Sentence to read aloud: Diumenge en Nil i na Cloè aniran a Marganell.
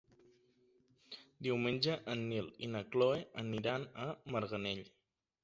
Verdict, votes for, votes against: accepted, 2, 0